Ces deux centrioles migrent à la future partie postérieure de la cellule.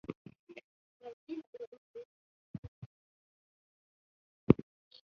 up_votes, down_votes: 0, 2